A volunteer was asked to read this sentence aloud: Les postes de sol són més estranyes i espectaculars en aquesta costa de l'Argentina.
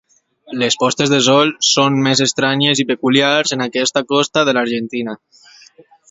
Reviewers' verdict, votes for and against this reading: accepted, 2, 0